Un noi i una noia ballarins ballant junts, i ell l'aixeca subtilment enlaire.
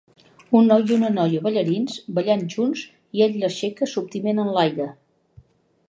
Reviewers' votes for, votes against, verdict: 1, 2, rejected